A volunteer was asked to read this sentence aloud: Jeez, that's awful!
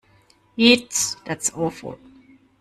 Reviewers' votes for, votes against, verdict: 1, 2, rejected